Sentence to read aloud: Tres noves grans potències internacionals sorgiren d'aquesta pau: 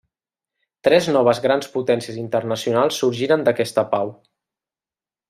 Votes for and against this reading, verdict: 1, 2, rejected